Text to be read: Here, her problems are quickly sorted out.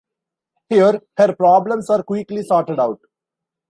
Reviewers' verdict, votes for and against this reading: accepted, 2, 0